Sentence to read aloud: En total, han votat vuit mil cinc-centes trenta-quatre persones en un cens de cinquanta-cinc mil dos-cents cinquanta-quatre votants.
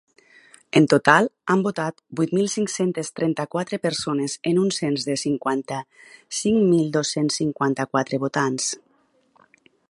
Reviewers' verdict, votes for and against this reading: accepted, 2, 0